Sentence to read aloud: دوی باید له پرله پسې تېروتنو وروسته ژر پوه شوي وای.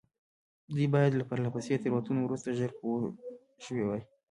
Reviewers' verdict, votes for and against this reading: accepted, 2, 0